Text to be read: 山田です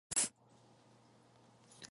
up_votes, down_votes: 0, 3